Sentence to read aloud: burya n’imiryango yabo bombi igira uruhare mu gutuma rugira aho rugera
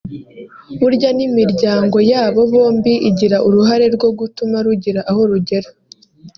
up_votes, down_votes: 0, 2